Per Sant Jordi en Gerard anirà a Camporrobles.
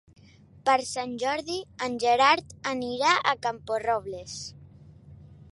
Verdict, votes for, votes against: accepted, 4, 0